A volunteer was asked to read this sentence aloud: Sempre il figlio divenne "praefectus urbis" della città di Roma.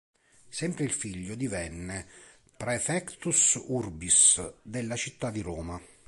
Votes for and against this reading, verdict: 3, 0, accepted